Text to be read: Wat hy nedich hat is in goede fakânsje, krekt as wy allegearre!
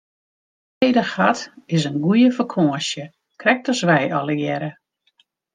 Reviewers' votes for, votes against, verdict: 0, 2, rejected